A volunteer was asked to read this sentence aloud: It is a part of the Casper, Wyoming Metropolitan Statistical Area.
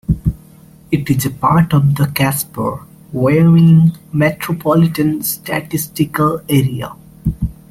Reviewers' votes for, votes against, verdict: 2, 1, accepted